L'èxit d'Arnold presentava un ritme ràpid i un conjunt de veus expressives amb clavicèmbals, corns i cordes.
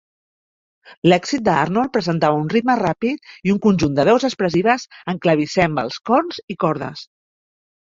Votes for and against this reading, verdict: 1, 2, rejected